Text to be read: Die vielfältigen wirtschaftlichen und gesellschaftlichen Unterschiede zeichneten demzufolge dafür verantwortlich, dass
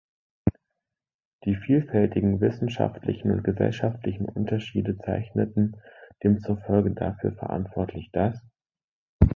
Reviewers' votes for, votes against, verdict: 0, 3, rejected